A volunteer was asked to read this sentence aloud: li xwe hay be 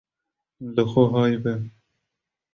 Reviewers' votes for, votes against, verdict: 2, 1, accepted